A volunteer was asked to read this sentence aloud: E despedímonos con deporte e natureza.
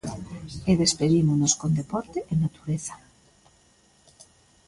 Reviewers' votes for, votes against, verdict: 2, 1, accepted